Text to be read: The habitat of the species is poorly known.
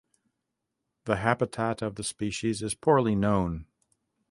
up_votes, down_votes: 2, 0